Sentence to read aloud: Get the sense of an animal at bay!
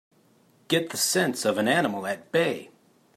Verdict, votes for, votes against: accepted, 2, 0